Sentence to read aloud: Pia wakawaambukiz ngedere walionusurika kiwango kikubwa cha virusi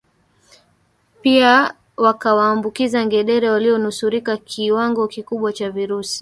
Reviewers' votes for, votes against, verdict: 2, 1, accepted